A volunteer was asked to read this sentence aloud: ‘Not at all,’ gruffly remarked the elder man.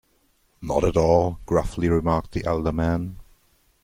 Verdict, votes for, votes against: accepted, 2, 0